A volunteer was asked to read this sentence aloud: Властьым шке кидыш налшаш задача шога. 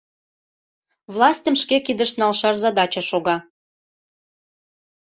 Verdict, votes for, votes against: accepted, 2, 0